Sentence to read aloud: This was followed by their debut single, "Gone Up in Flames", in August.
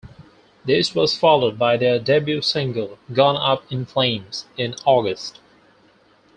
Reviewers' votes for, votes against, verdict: 4, 0, accepted